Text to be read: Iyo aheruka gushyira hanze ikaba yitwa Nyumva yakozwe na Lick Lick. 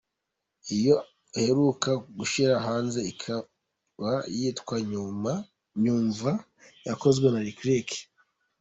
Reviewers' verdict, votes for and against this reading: rejected, 0, 2